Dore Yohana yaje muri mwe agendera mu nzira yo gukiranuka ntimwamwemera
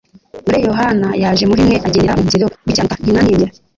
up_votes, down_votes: 2, 3